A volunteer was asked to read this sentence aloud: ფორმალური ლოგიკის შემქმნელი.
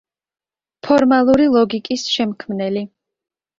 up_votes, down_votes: 2, 0